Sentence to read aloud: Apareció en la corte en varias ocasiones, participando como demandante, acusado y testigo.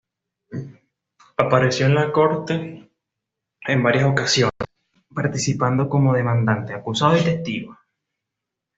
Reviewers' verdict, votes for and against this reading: accepted, 2, 0